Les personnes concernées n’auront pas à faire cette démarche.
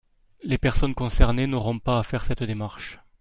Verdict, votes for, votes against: accepted, 5, 2